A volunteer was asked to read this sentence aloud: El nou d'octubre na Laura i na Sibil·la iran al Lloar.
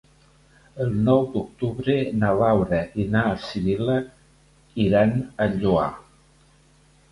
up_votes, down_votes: 2, 0